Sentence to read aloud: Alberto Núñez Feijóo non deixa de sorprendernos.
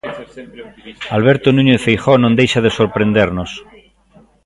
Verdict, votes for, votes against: rejected, 1, 2